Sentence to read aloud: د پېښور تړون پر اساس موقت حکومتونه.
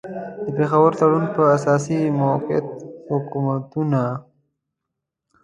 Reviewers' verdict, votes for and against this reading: accepted, 2, 1